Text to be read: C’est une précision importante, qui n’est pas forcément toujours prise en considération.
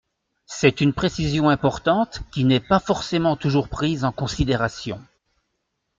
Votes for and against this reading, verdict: 2, 0, accepted